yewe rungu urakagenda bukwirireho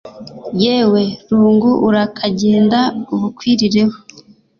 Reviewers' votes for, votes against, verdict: 2, 0, accepted